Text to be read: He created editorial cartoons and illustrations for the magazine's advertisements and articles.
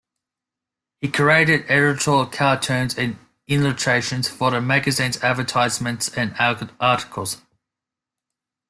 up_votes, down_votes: 0, 2